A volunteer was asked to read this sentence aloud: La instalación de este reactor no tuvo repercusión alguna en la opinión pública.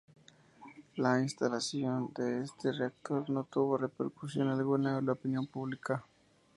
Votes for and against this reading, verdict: 2, 2, rejected